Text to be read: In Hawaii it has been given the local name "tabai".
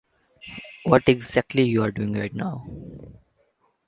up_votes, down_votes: 0, 2